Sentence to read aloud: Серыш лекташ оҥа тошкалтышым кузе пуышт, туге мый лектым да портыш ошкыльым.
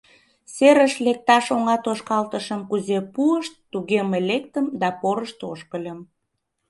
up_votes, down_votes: 0, 2